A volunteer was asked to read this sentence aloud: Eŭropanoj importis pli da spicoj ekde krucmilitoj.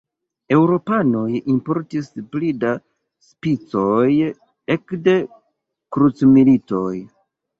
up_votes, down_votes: 2, 1